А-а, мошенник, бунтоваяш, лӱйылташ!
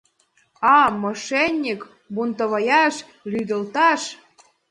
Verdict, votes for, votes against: rejected, 2, 4